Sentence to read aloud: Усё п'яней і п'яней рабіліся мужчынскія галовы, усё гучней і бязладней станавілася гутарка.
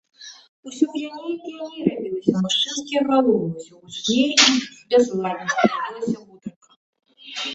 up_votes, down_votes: 0, 2